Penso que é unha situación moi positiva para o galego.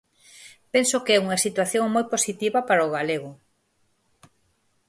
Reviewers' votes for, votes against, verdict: 4, 0, accepted